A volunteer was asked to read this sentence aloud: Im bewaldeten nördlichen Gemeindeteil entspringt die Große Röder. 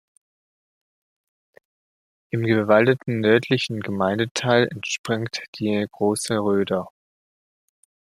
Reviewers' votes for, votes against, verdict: 1, 2, rejected